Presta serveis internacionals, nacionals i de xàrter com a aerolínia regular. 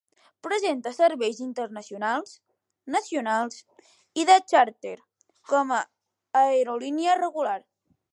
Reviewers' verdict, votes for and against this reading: rejected, 0, 2